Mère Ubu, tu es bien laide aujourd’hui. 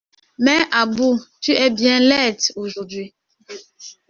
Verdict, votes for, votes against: rejected, 1, 2